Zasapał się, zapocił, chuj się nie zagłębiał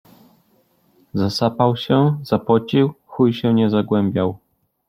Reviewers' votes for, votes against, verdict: 2, 0, accepted